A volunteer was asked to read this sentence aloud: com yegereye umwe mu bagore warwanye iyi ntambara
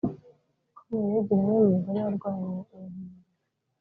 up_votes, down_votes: 1, 4